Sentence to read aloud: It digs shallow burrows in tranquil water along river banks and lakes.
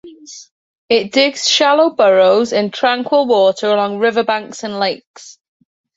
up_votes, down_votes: 2, 0